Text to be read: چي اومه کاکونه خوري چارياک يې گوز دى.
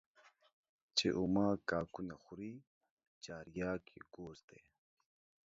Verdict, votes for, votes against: rejected, 1, 2